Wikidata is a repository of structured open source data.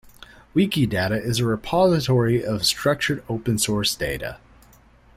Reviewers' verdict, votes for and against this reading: accepted, 2, 0